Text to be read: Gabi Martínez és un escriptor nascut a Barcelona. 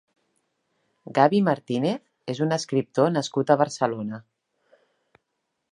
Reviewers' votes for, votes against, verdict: 2, 0, accepted